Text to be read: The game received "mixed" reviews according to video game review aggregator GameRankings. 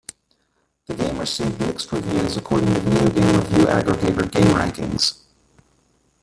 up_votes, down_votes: 1, 2